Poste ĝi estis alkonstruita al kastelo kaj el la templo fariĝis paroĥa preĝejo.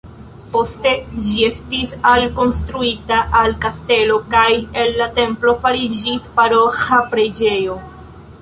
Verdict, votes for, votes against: accepted, 2, 0